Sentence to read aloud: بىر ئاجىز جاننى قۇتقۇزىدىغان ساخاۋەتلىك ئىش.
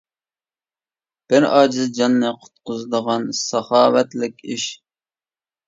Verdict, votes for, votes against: accepted, 2, 0